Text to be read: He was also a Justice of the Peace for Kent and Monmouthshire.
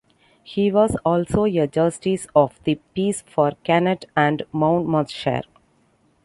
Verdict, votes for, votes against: rejected, 1, 2